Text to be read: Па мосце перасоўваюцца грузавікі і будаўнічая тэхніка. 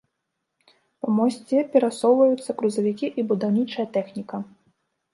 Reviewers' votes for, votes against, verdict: 0, 2, rejected